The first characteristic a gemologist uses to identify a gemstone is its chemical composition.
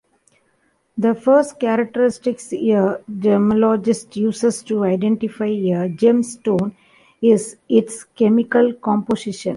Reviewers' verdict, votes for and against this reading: rejected, 0, 2